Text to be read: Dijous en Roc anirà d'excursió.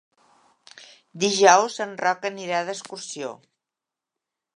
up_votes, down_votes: 2, 0